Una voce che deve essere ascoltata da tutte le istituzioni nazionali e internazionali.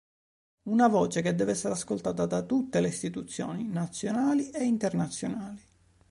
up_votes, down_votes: 3, 0